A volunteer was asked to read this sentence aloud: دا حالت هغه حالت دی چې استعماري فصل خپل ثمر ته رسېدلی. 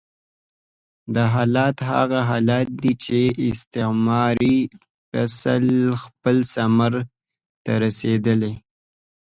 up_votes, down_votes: 0, 2